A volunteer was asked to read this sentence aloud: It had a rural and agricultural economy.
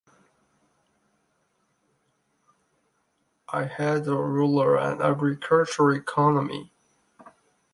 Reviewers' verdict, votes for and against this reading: rejected, 0, 2